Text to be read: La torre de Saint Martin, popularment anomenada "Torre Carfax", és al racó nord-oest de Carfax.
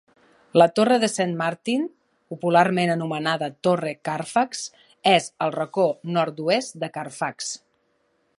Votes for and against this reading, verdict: 2, 0, accepted